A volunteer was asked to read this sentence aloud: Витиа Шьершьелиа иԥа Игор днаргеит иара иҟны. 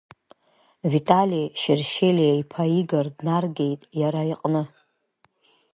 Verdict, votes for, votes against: rejected, 1, 2